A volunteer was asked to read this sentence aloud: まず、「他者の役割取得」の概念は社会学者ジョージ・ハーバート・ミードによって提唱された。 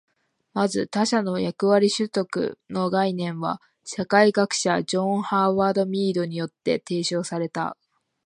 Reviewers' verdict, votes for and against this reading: rejected, 0, 2